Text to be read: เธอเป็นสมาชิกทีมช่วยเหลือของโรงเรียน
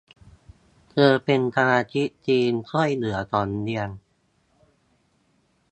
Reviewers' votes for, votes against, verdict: 0, 2, rejected